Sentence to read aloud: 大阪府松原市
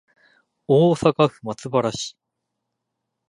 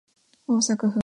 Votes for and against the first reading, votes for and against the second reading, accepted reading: 2, 0, 1, 2, first